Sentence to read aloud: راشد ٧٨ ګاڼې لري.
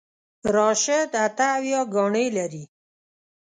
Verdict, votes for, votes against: rejected, 0, 2